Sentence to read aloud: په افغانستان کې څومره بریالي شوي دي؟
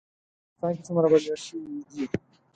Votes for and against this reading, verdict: 0, 4, rejected